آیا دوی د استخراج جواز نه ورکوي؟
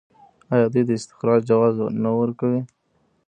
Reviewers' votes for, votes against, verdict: 0, 2, rejected